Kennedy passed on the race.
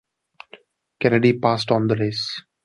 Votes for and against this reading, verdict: 2, 0, accepted